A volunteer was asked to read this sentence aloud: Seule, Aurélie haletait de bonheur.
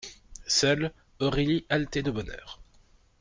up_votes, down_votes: 2, 0